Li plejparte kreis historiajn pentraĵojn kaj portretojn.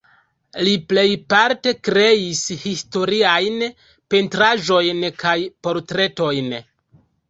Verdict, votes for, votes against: accepted, 2, 0